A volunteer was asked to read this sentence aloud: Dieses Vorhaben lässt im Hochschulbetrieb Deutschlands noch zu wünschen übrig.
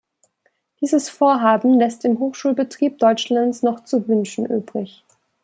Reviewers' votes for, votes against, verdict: 2, 0, accepted